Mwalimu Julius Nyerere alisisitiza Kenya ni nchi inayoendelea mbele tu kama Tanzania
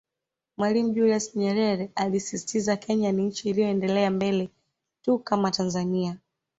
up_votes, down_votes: 0, 2